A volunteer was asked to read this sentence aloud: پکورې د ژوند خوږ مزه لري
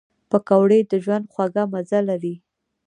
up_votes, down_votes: 0, 2